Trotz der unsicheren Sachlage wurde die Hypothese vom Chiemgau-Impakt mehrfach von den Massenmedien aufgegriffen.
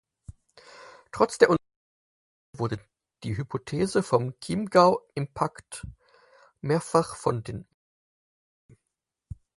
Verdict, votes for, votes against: rejected, 0, 4